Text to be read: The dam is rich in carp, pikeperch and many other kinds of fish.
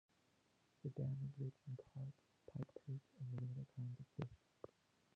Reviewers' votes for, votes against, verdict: 0, 2, rejected